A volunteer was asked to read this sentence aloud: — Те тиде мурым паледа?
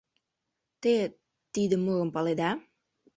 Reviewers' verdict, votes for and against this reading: rejected, 2, 3